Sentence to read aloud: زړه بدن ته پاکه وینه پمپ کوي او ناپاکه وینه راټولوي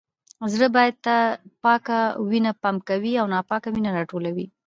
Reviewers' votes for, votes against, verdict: 2, 0, accepted